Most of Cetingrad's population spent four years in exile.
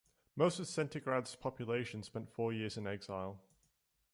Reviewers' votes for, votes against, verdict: 2, 1, accepted